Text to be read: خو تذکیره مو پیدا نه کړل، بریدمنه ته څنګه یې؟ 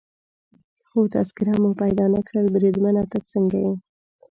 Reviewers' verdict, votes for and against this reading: accepted, 2, 0